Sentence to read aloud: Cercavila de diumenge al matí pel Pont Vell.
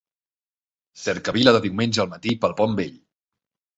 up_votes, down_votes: 2, 0